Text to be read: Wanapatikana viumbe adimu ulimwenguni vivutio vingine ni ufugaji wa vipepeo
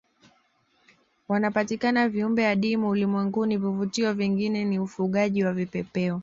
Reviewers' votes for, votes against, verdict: 0, 2, rejected